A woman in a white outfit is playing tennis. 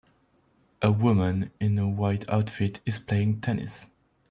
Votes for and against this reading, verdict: 2, 0, accepted